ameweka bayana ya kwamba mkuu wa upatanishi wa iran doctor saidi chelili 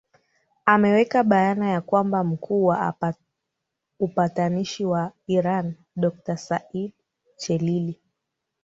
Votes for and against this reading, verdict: 1, 2, rejected